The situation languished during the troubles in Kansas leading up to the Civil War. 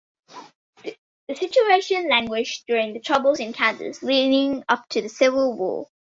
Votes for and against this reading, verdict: 2, 0, accepted